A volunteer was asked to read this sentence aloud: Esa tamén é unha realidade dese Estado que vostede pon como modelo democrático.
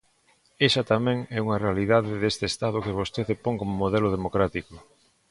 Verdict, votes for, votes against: rejected, 1, 2